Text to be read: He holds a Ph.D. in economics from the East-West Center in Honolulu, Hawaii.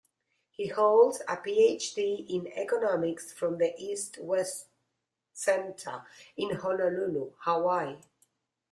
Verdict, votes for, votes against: accepted, 2, 0